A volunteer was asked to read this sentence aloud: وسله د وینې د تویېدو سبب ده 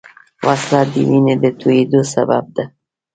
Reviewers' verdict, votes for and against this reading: rejected, 0, 2